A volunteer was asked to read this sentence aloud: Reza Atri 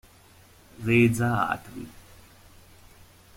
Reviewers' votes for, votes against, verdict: 2, 1, accepted